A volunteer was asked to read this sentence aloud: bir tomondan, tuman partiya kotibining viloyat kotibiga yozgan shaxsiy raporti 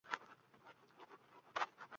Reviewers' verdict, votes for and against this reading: rejected, 0, 2